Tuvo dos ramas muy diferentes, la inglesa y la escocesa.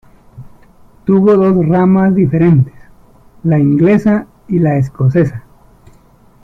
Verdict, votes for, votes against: rejected, 0, 2